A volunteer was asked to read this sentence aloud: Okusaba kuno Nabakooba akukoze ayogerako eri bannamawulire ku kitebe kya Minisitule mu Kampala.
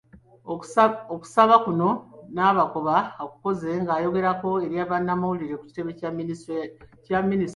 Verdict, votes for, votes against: rejected, 0, 2